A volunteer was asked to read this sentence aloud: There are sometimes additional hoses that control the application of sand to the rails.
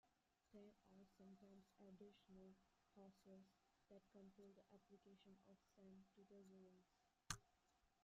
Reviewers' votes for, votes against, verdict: 0, 2, rejected